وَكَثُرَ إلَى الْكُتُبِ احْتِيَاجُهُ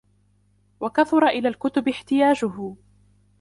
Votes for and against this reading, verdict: 2, 0, accepted